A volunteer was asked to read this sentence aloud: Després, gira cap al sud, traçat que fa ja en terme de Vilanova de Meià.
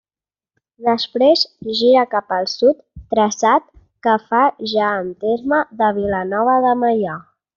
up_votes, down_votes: 3, 0